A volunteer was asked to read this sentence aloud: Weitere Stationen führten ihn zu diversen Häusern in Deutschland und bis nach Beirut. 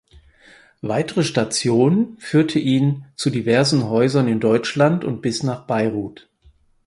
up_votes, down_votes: 0, 4